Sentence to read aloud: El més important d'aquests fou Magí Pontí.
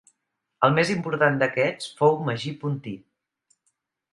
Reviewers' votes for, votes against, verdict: 2, 0, accepted